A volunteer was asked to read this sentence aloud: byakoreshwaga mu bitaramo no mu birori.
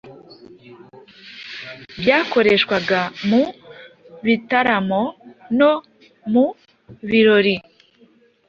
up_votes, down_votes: 2, 0